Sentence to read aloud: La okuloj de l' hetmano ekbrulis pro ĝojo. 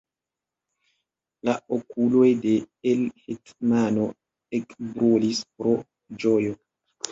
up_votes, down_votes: 2, 0